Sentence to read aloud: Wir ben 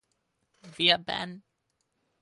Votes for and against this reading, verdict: 2, 4, rejected